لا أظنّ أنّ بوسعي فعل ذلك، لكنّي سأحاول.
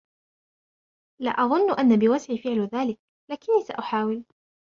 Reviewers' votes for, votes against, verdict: 2, 0, accepted